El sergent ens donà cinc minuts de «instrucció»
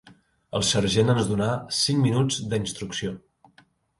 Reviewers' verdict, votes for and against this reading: accepted, 2, 0